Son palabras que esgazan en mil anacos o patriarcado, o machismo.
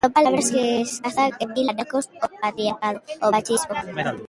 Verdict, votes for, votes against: rejected, 0, 2